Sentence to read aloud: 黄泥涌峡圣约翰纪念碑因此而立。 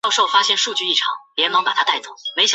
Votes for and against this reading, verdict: 0, 5, rejected